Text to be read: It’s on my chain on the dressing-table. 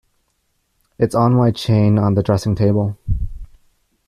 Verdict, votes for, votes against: accepted, 2, 0